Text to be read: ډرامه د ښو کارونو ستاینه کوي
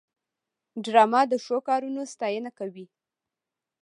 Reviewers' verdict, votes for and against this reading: rejected, 0, 2